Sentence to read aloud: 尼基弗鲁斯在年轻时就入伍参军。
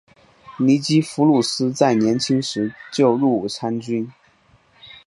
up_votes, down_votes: 6, 2